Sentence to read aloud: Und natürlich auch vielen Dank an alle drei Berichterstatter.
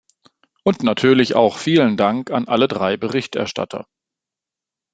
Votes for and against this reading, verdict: 2, 0, accepted